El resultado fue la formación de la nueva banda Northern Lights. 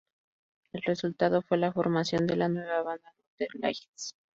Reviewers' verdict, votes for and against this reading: rejected, 0, 2